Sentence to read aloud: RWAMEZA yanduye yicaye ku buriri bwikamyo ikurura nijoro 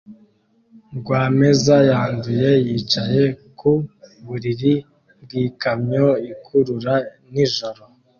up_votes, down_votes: 2, 0